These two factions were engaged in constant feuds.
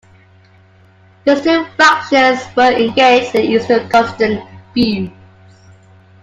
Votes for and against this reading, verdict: 0, 2, rejected